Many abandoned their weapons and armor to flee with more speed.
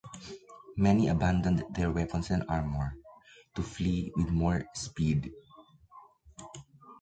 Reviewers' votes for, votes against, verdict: 2, 0, accepted